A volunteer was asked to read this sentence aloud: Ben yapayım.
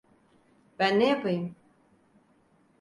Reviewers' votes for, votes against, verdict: 2, 4, rejected